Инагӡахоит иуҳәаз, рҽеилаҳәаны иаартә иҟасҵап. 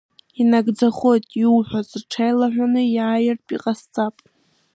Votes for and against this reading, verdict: 2, 0, accepted